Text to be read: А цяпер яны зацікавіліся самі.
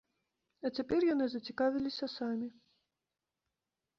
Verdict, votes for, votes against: accepted, 2, 0